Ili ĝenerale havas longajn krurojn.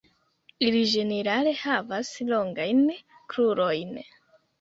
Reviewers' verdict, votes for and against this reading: accepted, 2, 1